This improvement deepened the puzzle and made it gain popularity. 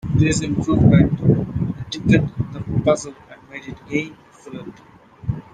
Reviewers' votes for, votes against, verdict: 0, 2, rejected